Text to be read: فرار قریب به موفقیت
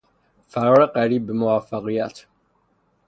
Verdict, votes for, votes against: rejected, 0, 3